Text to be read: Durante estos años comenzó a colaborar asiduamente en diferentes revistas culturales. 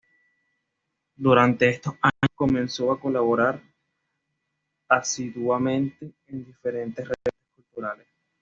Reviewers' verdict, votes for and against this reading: rejected, 1, 2